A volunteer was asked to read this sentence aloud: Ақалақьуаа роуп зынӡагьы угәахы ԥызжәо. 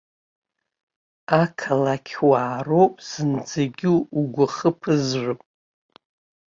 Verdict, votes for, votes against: accepted, 2, 0